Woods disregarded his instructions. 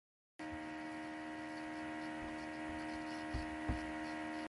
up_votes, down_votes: 0, 2